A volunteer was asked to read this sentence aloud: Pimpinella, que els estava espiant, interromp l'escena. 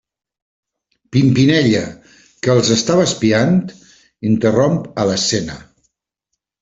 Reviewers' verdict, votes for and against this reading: rejected, 1, 3